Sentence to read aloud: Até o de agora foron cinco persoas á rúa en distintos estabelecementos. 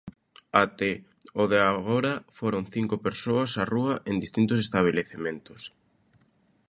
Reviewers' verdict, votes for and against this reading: accepted, 2, 0